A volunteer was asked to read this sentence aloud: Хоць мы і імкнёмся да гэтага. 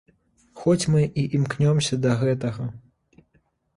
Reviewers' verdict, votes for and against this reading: accepted, 2, 0